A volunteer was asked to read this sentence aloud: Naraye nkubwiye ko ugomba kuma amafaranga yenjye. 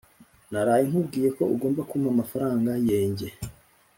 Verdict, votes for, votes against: accepted, 2, 0